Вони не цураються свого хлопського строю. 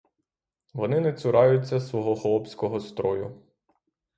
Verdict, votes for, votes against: rejected, 3, 3